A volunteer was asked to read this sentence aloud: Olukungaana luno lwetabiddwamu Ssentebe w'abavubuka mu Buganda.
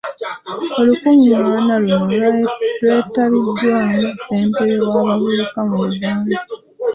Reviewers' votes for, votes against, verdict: 2, 0, accepted